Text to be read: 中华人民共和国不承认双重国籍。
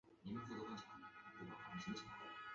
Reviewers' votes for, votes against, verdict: 0, 2, rejected